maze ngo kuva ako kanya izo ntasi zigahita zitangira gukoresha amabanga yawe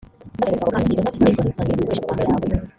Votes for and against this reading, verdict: 0, 2, rejected